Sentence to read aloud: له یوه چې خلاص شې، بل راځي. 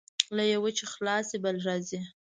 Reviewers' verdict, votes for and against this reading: accepted, 2, 1